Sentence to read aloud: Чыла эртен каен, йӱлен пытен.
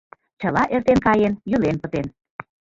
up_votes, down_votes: 1, 2